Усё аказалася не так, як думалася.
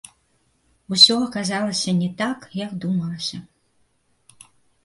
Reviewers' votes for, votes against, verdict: 1, 2, rejected